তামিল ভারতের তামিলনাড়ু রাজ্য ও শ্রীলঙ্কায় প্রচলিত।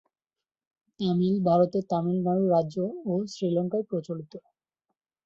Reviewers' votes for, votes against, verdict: 1, 2, rejected